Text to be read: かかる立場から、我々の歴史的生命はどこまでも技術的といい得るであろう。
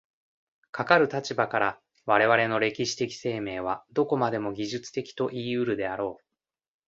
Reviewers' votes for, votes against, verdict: 2, 0, accepted